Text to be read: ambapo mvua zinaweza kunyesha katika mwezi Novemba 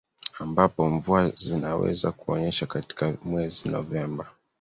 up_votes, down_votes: 3, 1